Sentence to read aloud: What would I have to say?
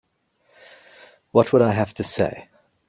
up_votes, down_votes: 3, 0